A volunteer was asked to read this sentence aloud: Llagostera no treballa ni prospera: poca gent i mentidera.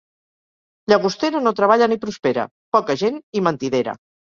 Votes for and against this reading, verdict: 4, 0, accepted